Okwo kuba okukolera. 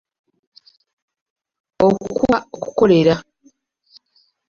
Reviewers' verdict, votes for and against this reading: rejected, 1, 2